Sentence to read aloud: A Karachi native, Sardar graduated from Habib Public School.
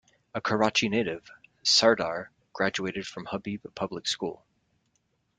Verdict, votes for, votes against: accepted, 2, 0